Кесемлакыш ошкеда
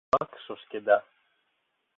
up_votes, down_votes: 0, 2